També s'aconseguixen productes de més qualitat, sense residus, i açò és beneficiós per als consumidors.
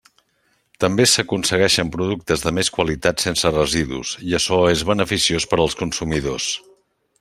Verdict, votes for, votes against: accepted, 2, 1